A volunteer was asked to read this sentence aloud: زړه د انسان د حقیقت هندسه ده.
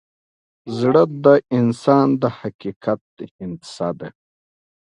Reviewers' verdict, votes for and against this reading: accepted, 2, 0